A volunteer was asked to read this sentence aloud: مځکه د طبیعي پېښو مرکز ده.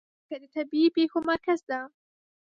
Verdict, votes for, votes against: rejected, 1, 2